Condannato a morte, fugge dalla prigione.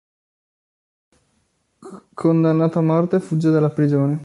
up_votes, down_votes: 2, 0